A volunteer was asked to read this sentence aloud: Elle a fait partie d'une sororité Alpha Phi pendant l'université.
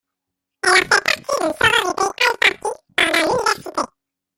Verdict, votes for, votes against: rejected, 0, 2